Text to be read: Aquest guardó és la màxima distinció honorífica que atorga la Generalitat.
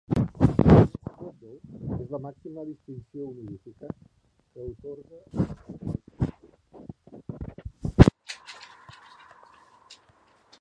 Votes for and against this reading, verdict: 0, 2, rejected